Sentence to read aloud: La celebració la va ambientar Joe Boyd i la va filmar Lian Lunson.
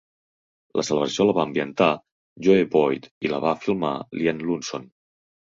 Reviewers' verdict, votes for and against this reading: rejected, 2, 3